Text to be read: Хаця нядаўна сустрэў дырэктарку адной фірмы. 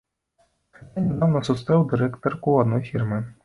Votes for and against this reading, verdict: 0, 2, rejected